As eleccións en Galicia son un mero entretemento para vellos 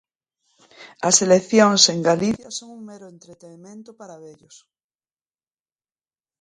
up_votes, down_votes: 0, 2